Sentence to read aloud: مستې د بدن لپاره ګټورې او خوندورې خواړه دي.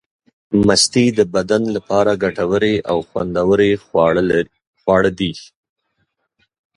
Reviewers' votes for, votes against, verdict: 1, 3, rejected